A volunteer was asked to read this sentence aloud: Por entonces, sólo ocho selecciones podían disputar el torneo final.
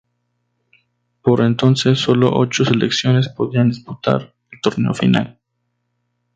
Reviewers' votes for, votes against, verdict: 0, 2, rejected